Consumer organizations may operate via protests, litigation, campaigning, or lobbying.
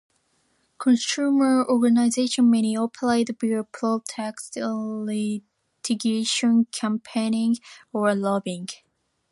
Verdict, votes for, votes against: accepted, 2, 0